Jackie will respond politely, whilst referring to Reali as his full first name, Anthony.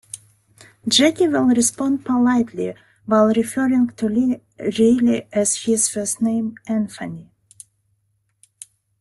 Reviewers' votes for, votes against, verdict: 1, 2, rejected